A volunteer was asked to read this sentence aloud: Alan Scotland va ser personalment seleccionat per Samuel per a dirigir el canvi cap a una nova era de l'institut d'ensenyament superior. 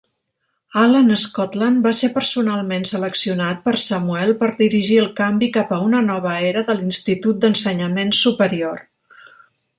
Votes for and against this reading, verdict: 0, 2, rejected